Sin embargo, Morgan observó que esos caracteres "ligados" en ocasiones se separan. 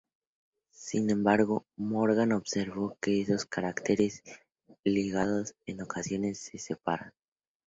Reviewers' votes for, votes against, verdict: 2, 0, accepted